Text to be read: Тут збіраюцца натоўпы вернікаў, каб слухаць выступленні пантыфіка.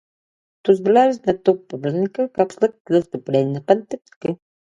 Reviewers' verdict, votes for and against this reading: rejected, 0, 2